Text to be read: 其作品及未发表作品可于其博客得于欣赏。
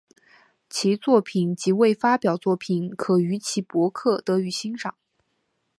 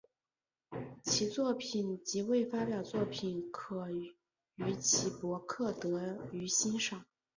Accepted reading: first